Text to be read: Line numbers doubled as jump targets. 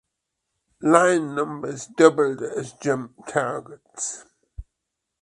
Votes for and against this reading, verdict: 2, 0, accepted